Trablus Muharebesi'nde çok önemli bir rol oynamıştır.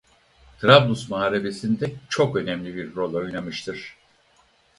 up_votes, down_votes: 4, 0